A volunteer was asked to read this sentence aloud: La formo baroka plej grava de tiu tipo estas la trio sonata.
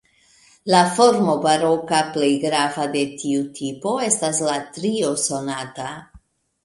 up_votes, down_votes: 2, 1